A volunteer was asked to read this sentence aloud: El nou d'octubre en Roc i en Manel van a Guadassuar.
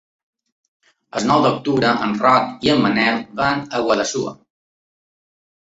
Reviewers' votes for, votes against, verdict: 2, 0, accepted